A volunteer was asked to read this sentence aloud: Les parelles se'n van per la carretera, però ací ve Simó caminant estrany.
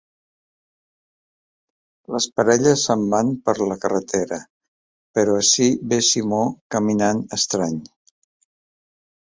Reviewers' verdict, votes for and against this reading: accepted, 2, 0